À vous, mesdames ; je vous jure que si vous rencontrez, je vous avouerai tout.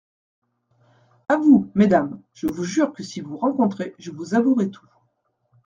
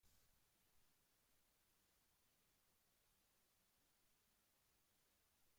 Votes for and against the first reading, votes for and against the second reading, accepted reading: 2, 0, 0, 2, first